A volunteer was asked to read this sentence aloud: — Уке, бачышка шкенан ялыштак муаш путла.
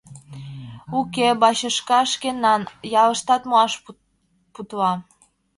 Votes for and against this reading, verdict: 1, 2, rejected